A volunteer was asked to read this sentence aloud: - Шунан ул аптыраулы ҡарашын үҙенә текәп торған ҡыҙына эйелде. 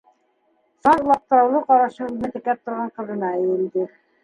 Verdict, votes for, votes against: rejected, 1, 2